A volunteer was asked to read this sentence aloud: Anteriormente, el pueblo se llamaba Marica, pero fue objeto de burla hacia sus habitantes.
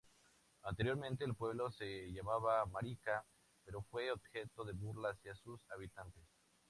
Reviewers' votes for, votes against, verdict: 2, 2, rejected